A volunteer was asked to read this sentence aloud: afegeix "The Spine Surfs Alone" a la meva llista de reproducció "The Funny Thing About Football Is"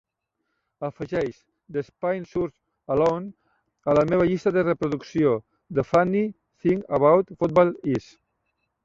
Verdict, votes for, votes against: rejected, 0, 2